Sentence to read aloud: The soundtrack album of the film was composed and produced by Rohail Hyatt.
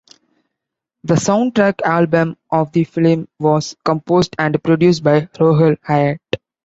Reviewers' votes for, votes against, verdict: 2, 0, accepted